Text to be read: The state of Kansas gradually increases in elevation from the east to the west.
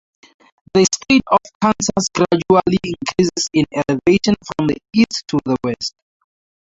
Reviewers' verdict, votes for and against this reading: rejected, 0, 2